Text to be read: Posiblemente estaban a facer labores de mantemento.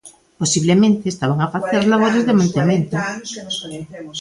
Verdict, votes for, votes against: rejected, 0, 2